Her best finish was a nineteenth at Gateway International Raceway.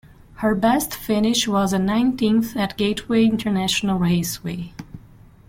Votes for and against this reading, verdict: 2, 0, accepted